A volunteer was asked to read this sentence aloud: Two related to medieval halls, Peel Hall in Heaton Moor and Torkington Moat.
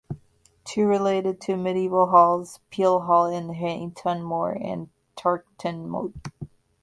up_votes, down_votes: 1, 2